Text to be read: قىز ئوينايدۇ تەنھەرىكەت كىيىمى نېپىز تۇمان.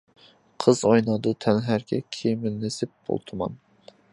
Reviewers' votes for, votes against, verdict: 0, 2, rejected